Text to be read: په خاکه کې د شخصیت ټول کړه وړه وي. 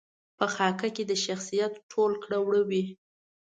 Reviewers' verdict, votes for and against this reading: accepted, 2, 0